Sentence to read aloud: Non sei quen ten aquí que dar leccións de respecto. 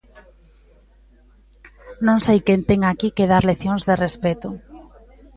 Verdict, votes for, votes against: accepted, 2, 0